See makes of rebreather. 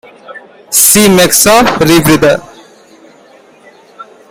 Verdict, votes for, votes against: rejected, 1, 3